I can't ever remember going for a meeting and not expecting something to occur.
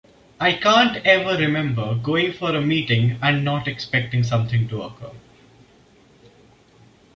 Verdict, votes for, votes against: accepted, 2, 0